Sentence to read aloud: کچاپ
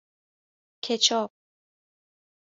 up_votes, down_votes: 2, 0